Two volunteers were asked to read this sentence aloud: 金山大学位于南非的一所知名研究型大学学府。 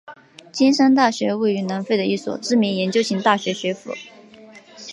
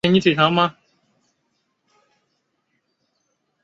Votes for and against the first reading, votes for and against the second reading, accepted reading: 2, 0, 1, 5, first